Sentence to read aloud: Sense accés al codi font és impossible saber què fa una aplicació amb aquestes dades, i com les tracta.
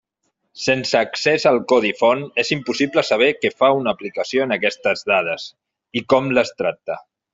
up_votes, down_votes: 0, 2